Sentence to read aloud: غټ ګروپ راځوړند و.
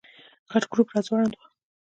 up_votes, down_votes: 1, 2